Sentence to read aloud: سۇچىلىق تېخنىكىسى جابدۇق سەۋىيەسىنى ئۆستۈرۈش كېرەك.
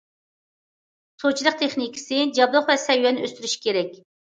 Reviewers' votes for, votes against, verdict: 1, 2, rejected